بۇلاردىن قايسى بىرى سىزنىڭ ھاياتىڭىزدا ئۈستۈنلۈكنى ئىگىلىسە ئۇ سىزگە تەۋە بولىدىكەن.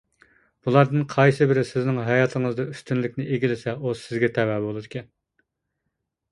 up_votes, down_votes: 2, 0